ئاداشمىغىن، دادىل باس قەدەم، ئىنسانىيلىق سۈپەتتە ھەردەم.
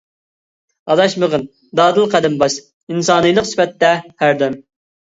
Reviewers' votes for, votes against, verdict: 0, 2, rejected